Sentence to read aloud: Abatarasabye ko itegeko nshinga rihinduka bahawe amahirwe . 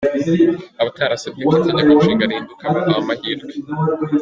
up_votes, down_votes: 2, 1